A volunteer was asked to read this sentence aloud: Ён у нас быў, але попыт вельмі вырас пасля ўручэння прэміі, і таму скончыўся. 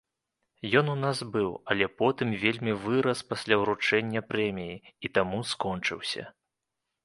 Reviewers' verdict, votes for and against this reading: rejected, 0, 2